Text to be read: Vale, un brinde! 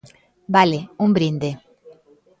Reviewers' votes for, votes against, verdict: 2, 0, accepted